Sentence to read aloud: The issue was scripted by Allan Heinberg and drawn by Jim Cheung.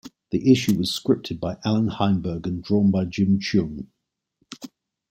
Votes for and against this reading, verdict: 2, 0, accepted